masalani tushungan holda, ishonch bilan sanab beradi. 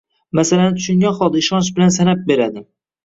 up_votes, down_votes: 1, 2